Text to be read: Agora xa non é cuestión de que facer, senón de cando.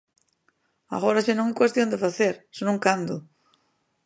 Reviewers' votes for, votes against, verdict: 0, 2, rejected